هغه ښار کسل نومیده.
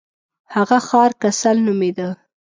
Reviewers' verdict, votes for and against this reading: accepted, 2, 0